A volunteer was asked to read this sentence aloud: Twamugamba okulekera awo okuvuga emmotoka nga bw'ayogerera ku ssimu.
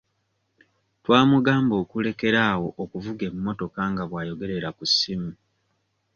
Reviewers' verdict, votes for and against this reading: accepted, 2, 0